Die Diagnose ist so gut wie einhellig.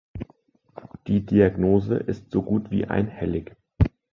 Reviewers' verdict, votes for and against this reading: accepted, 2, 0